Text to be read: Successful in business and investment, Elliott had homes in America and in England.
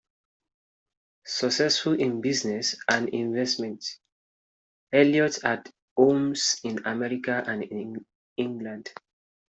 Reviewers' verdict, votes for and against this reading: rejected, 0, 2